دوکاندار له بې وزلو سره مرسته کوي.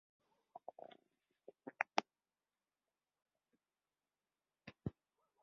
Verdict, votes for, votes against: rejected, 0, 2